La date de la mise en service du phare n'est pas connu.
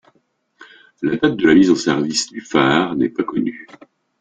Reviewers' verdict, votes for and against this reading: rejected, 0, 2